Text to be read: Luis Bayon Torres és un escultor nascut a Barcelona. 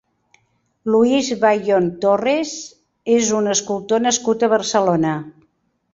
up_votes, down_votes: 2, 0